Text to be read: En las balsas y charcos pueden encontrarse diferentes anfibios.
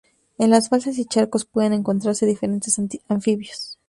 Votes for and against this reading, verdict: 0, 2, rejected